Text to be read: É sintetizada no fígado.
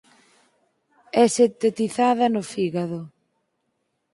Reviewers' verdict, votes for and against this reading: rejected, 0, 6